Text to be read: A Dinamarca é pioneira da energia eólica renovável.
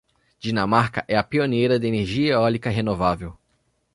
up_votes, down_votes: 0, 2